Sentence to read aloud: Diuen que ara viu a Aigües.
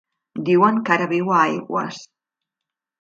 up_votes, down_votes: 1, 2